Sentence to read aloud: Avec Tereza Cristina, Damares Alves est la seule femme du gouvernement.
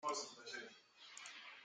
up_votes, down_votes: 0, 2